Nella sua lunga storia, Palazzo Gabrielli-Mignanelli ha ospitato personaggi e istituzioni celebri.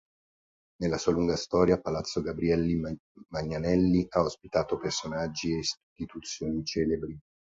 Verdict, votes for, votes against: rejected, 0, 4